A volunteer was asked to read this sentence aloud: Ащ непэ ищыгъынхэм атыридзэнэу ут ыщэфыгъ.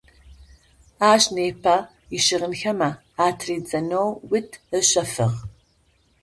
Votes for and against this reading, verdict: 0, 2, rejected